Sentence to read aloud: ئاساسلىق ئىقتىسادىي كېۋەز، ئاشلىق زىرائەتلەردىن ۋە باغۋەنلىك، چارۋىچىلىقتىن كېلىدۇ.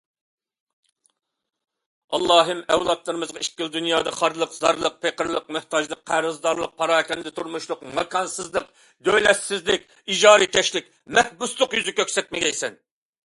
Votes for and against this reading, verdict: 0, 2, rejected